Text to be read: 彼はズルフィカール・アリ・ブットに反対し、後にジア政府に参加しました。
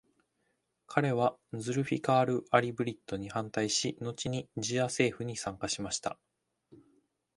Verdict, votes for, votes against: rejected, 1, 2